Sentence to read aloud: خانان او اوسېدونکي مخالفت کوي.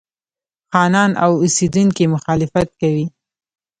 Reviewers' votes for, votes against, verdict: 0, 2, rejected